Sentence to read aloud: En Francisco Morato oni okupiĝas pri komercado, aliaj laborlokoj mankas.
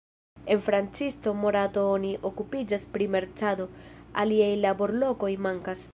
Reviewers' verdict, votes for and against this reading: rejected, 1, 2